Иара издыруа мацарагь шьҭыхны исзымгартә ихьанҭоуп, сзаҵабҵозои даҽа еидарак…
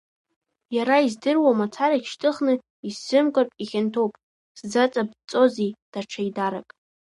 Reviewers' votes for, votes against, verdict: 0, 2, rejected